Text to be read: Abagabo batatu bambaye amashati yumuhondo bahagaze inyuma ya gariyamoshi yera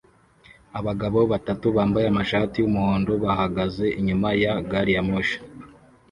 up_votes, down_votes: 1, 2